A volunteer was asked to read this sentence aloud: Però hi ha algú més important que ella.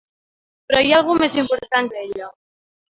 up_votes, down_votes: 1, 2